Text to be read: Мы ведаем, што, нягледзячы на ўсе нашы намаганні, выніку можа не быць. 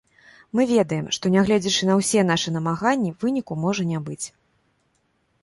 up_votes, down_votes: 2, 0